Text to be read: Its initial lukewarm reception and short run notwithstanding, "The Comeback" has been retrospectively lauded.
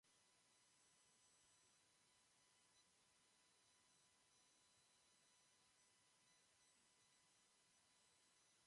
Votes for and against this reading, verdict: 0, 2, rejected